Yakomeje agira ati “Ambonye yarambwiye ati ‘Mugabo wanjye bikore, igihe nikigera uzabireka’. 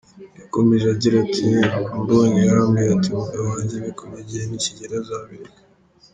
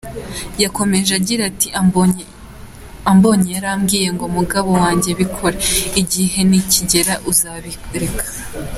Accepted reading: second